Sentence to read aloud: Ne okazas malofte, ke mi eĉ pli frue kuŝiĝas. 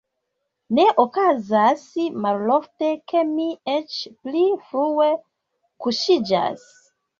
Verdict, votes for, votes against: accepted, 2, 0